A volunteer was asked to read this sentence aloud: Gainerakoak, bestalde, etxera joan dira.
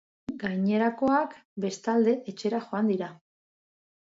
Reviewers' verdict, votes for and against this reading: accepted, 2, 0